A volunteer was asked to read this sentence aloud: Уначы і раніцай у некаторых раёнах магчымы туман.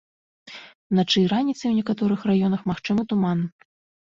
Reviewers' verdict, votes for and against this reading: accepted, 2, 0